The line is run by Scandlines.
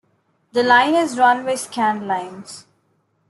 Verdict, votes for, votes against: accepted, 2, 0